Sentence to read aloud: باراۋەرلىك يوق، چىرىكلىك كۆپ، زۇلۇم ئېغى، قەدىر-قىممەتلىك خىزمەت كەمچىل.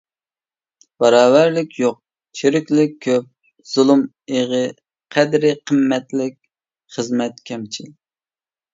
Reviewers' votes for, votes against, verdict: 0, 2, rejected